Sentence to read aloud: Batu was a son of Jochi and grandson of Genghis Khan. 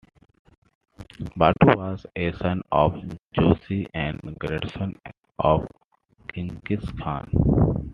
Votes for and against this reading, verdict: 1, 2, rejected